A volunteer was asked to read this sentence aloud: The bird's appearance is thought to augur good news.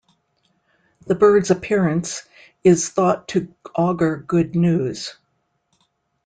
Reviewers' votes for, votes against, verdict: 2, 1, accepted